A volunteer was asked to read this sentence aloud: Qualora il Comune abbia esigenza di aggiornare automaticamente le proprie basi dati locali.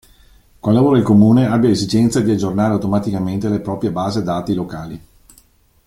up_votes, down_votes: 0, 2